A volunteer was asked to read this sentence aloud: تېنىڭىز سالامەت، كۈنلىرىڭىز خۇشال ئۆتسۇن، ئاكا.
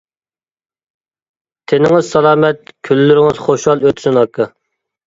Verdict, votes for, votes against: accepted, 2, 0